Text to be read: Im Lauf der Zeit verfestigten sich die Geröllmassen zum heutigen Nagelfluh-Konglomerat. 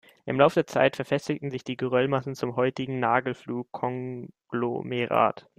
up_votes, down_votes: 2, 0